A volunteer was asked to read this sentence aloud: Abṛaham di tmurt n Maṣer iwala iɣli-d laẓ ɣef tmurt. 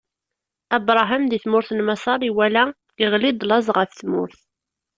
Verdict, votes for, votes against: accepted, 2, 0